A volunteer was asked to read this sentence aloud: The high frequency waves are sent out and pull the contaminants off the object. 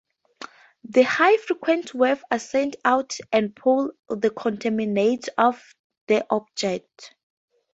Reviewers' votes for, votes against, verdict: 0, 4, rejected